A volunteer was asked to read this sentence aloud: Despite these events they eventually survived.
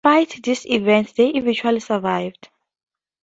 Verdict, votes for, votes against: rejected, 0, 2